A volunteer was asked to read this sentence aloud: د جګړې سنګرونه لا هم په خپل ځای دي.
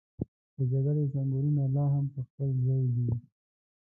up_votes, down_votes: 1, 2